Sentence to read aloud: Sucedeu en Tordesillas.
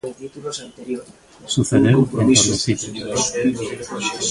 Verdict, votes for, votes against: accepted, 2, 1